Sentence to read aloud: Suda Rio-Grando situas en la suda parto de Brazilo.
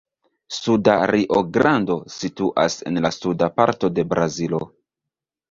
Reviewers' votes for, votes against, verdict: 2, 0, accepted